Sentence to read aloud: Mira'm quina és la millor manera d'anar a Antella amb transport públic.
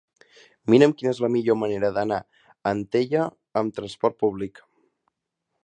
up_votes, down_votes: 0, 2